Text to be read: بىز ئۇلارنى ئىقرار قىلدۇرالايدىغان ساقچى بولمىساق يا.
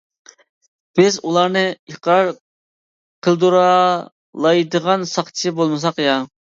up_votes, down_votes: 1, 2